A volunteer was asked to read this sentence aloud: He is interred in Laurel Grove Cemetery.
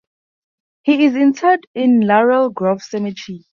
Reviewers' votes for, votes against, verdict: 0, 2, rejected